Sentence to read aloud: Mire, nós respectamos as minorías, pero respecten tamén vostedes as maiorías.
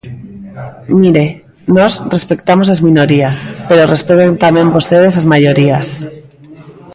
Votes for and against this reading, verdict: 0, 2, rejected